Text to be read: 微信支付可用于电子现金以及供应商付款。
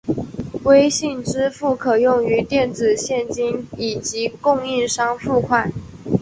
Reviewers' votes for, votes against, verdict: 3, 0, accepted